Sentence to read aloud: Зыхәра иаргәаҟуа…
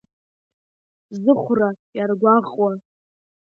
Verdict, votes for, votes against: rejected, 0, 2